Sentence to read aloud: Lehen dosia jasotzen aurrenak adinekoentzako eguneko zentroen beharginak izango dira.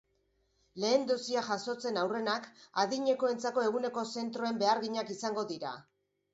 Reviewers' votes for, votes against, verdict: 2, 0, accepted